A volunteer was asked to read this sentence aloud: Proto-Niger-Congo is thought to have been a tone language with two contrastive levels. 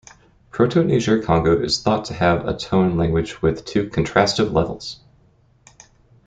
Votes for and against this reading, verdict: 1, 2, rejected